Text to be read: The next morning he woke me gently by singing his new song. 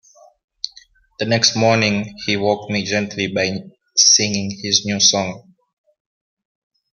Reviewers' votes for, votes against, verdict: 2, 0, accepted